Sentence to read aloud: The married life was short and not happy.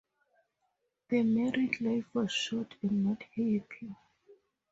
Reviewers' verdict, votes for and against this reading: accepted, 2, 0